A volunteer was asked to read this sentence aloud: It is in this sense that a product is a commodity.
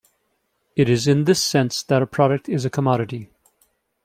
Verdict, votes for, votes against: accepted, 2, 0